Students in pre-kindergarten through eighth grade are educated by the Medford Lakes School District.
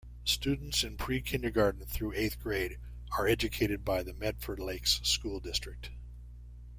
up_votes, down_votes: 2, 0